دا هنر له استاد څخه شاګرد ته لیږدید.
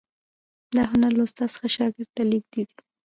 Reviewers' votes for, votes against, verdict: 2, 1, accepted